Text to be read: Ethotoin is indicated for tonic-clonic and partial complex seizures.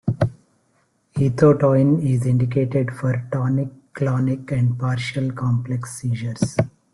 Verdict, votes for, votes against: rejected, 0, 2